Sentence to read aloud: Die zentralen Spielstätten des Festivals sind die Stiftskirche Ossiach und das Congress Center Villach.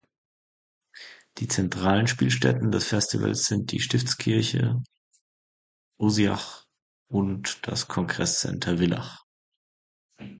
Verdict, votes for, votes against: rejected, 1, 2